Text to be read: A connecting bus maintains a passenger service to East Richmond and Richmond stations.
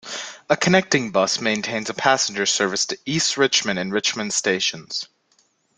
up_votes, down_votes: 3, 0